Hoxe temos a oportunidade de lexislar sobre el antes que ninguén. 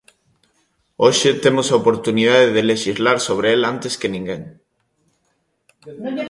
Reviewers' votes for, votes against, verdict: 2, 0, accepted